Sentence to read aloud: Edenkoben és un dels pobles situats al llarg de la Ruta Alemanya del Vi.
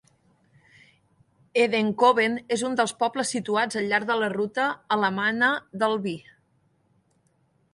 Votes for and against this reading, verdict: 0, 2, rejected